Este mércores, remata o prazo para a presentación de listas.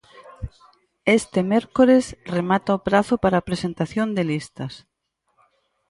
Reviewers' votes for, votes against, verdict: 4, 0, accepted